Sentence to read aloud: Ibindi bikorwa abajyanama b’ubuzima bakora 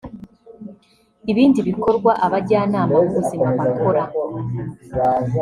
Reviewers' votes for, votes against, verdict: 1, 2, rejected